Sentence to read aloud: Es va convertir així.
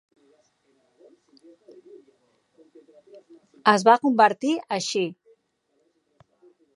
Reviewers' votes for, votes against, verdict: 3, 0, accepted